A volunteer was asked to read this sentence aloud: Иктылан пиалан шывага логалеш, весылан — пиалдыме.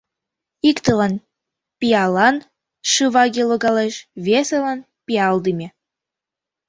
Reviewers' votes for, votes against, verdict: 1, 2, rejected